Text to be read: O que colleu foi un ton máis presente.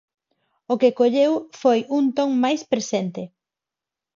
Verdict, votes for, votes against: accepted, 4, 0